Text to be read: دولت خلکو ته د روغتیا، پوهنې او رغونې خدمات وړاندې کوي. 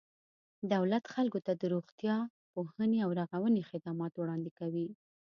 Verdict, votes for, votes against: accepted, 2, 0